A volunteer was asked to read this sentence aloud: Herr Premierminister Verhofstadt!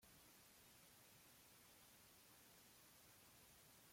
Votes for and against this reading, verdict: 0, 2, rejected